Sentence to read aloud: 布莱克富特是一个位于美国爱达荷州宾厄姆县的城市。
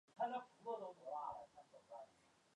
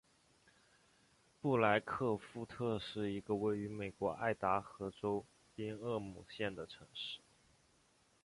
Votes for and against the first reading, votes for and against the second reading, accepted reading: 1, 2, 2, 0, second